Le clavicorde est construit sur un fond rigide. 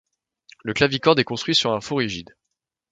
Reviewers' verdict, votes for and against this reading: accepted, 2, 1